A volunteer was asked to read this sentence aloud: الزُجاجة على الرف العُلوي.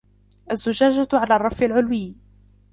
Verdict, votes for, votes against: accepted, 2, 0